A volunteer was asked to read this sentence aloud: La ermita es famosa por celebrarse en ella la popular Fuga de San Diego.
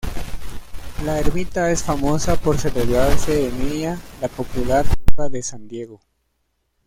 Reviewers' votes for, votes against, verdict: 1, 2, rejected